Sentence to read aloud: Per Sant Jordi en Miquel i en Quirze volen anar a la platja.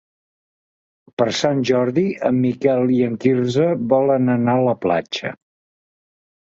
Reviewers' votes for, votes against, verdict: 3, 0, accepted